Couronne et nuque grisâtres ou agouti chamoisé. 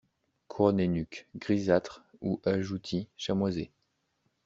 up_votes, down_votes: 1, 2